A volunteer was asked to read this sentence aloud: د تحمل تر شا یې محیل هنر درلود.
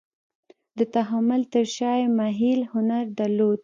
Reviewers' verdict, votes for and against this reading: rejected, 0, 2